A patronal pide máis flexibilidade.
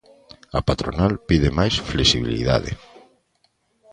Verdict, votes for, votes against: accepted, 2, 0